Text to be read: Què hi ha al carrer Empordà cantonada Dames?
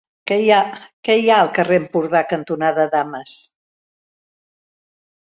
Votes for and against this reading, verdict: 0, 4, rejected